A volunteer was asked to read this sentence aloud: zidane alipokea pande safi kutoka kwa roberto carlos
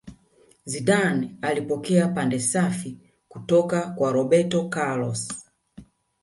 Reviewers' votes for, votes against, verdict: 2, 0, accepted